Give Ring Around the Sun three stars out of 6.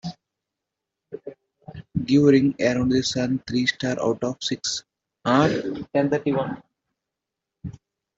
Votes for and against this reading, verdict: 0, 2, rejected